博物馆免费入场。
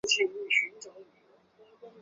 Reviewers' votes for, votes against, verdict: 0, 3, rejected